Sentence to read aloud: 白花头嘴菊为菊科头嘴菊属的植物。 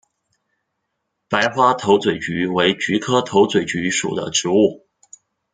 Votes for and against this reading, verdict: 2, 1, accepted